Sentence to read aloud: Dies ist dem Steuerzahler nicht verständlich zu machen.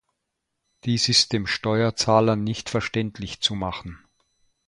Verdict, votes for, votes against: accepted, 2, 0